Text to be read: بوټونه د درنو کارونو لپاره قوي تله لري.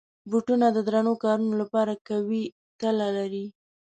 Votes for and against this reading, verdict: 2, 1, accepted